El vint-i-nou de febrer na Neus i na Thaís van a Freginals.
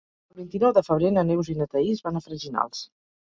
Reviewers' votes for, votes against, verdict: 2, 0, accepted